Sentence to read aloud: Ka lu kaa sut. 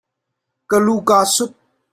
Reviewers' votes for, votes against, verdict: 2, 0, accepted